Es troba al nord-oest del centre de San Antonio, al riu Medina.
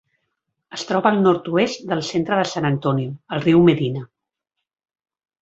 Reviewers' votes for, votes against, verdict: 3, 0, accepted